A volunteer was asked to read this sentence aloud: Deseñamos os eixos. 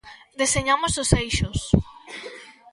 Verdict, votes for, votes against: accepted, 2, 0